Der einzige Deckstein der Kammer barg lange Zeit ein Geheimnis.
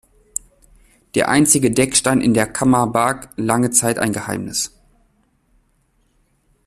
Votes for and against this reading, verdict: 0, 2, rejected